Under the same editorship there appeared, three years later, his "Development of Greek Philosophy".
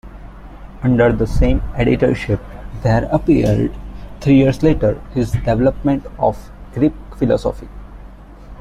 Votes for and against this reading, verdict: 2, 0, accepted